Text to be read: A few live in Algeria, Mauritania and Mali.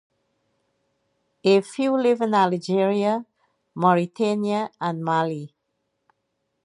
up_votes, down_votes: 0, 2